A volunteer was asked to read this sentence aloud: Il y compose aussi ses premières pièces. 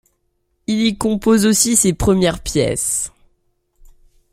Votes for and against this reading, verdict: 2, 0, accepted